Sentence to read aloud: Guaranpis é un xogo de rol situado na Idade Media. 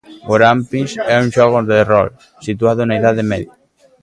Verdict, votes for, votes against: rejected, 1, 2